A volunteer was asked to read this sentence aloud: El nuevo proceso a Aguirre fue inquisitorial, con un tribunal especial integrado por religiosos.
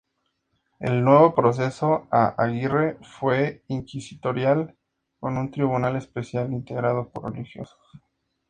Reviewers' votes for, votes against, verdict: 2, 0, accepted